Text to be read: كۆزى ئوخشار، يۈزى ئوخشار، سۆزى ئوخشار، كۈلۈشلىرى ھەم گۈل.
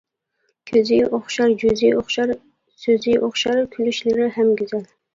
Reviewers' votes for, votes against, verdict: 1, 2, rejected